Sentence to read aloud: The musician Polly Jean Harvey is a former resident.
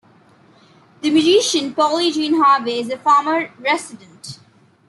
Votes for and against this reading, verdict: 2, 0, accepted